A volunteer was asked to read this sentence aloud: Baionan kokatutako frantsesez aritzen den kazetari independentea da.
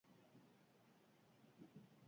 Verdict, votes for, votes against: rejected, 0, 6